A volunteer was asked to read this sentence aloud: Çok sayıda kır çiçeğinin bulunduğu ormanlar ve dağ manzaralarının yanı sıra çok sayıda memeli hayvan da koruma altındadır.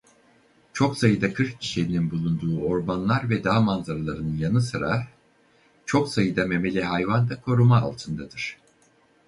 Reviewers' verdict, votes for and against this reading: rejected, 2, 2